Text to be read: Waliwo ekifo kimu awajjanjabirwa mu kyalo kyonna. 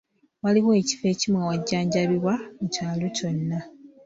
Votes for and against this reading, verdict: 1, 2, rejected